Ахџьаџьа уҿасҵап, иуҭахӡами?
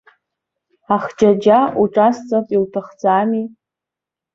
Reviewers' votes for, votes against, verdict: 2, 1, accepted